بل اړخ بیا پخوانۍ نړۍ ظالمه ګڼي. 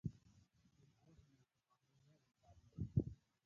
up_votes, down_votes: 0, 2